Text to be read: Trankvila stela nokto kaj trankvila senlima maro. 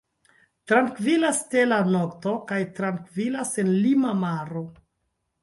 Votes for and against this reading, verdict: 0, 2, rejected